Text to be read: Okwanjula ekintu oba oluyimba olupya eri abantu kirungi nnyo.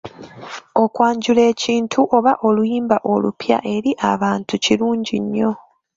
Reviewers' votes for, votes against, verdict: 2, 0, accepted